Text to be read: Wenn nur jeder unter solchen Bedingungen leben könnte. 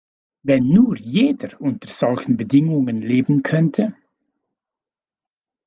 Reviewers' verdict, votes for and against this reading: accepted, 2, 0